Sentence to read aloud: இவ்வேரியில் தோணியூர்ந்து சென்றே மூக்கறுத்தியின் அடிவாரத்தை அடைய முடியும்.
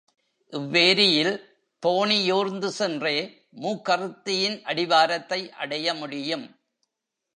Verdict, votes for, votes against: accepted, 2, 0